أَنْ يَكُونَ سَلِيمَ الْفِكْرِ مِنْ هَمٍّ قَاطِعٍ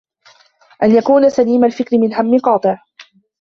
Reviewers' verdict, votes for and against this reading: accepted, 2, 0